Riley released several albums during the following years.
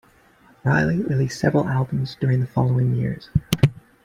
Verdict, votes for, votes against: accepted, 2, 0